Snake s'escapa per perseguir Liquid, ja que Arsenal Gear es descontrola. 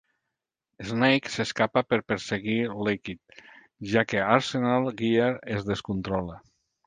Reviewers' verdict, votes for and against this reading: accepted, 3, 0